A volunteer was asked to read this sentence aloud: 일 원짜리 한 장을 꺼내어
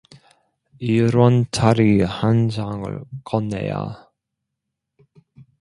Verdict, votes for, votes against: rejected, 1, 2